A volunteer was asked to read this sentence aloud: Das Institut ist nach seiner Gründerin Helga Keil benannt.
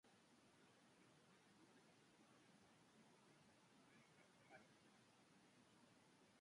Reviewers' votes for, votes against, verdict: 0, 3, rejected